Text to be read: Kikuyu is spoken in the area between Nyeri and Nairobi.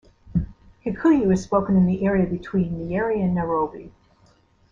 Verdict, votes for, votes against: accepted, 2, 0